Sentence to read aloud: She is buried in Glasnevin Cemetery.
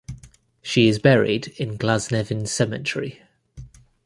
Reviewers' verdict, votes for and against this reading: accepted, 2, 0